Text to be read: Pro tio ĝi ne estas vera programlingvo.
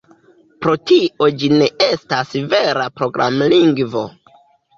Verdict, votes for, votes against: accepted, 2, 1